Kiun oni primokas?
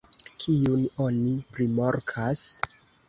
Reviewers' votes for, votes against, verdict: 0, 2, rejected